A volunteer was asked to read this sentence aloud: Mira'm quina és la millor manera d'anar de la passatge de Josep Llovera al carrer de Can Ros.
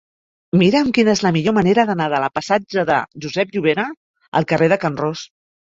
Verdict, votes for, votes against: accepted, 2, 0